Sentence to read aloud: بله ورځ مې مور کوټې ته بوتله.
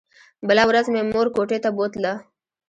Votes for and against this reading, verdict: 1, 2, rejected